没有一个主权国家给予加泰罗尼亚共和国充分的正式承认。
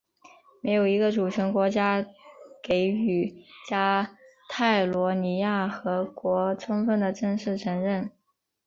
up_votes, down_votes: 0, 2